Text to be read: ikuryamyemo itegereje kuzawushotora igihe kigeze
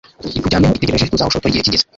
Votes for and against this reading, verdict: 1, 2, rejected